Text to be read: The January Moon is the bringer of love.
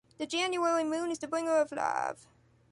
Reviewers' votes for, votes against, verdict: 1, 2, rejected